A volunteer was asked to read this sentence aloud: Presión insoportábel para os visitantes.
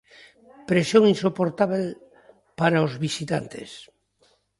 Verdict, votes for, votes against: accepted, 2, 0